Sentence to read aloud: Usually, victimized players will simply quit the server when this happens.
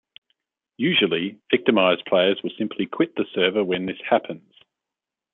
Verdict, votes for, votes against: accepted, 2, 0